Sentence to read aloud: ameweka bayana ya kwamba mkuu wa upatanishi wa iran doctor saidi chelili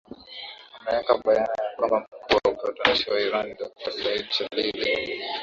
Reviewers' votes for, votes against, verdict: 2, 1, accepted